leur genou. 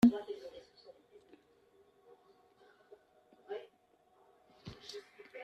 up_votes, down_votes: 0, 2